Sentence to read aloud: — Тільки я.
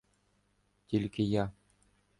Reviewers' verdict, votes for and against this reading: accepted, 2, 0